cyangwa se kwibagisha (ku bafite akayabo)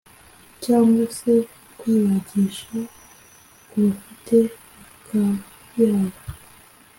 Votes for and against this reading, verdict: 2, 0, accepted